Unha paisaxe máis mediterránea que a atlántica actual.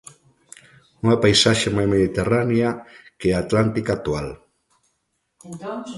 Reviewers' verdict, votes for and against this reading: rejected, 1, 2